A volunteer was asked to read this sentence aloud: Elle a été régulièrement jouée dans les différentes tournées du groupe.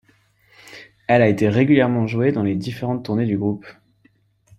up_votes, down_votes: 1, 2